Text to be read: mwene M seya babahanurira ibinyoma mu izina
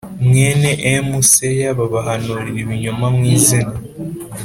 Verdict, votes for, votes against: accepted, 4, 0